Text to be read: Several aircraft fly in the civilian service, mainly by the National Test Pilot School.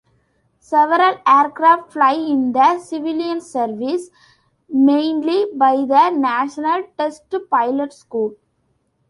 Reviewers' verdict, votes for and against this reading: accepted, 2, 0